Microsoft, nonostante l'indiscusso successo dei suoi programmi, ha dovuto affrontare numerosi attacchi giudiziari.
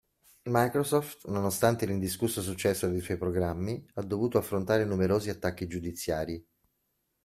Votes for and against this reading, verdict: 2, 0, accepted